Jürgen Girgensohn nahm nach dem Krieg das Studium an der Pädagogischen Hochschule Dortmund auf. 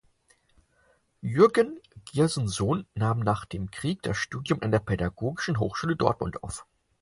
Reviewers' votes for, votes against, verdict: 0, 4, rejected